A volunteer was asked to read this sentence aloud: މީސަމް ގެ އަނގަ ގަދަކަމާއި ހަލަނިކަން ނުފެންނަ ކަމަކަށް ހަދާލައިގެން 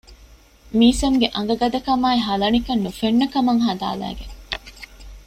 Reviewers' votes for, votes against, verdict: 1, 2, rejected